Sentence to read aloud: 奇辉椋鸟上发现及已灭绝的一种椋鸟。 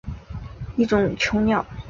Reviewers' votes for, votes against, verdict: 0, 5, rejected